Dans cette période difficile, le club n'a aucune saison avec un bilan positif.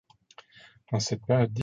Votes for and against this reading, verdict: 0, 2, rejected